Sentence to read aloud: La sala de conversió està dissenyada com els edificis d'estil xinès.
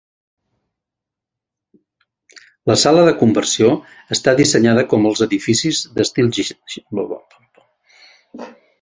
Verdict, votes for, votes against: rejected, 0, 2